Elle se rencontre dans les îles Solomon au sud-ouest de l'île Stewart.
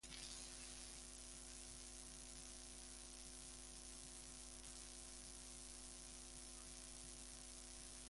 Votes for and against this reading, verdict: 0, 2, rejected